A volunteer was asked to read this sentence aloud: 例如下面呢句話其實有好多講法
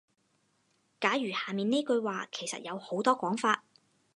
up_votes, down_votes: 2, 4